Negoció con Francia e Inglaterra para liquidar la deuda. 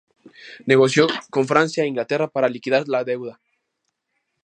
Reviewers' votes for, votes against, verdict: 2, 0, accepted